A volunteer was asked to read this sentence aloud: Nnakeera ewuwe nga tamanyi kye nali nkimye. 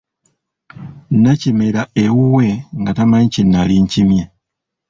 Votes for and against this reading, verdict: 0, 2, rejected